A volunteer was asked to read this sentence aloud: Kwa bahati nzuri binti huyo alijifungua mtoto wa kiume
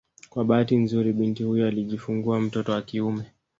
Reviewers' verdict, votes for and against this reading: rejected, 1, 2